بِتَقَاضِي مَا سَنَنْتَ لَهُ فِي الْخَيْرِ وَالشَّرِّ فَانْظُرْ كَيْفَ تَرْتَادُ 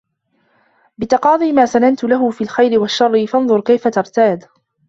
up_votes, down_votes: 0, 2